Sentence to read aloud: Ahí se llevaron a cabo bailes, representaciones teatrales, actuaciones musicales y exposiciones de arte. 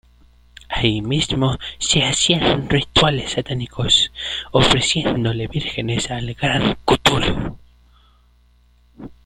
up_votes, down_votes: 0, 2